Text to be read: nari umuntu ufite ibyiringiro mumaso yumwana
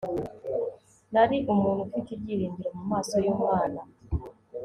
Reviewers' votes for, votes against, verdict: 2, 0, accepted